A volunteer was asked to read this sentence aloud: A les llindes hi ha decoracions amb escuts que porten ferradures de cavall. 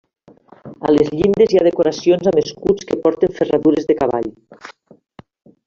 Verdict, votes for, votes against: accepted, 3, 1